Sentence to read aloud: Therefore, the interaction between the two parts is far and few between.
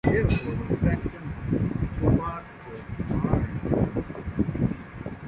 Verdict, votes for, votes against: rejected, 0, 2